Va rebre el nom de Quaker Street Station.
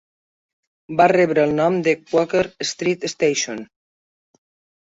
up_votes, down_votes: 3, 0